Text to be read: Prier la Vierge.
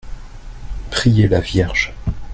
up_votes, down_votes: 2, 0